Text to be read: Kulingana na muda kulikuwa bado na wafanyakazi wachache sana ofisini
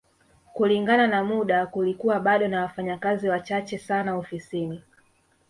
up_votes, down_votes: 1, 2